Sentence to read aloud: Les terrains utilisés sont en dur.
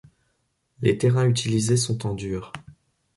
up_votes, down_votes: 1, 2